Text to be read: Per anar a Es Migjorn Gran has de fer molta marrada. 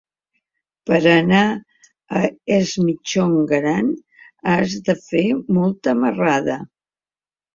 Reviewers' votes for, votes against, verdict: 2, 0, accepted